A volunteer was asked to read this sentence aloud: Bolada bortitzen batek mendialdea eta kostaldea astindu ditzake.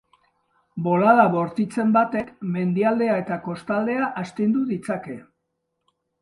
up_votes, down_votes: 2, 0